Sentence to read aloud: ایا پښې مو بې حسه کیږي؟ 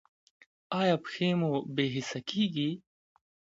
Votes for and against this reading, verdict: 2, 0, accepted